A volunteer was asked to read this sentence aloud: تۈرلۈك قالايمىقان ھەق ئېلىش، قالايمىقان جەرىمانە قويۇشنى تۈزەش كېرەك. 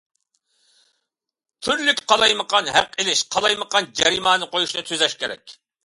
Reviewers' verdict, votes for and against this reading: accepted, 2, 0